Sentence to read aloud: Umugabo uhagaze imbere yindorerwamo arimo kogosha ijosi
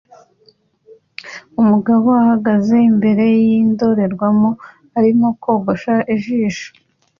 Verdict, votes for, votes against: rejected, 0, 2